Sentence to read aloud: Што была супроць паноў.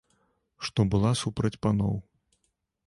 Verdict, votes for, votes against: rejected, 1, 2